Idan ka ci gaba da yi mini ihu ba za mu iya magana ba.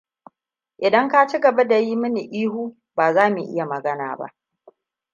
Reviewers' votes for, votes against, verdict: 2, 0, accepted